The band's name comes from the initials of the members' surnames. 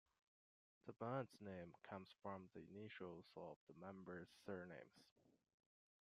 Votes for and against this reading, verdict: 0, 2, rejected